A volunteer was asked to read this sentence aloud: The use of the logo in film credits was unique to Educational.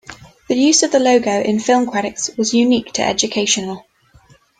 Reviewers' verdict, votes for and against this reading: accepted, 2, 0